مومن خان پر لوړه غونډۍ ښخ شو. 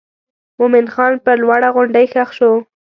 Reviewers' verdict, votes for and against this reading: accepted, 2, 0